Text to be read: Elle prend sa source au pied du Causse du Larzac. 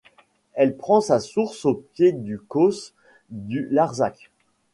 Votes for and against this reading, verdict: 2, 0, accepted